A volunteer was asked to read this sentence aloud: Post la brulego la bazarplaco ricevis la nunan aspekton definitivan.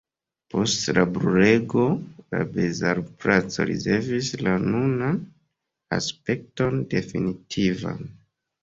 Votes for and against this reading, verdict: 1, 2, rejected